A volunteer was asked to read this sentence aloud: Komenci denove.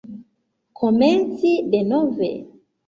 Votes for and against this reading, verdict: 0, 2, rejected